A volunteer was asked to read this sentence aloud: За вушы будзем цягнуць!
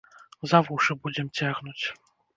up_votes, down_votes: 0, 2